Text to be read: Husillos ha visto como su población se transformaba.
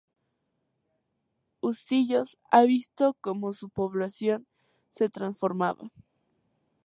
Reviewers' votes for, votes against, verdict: 2, 0, accepted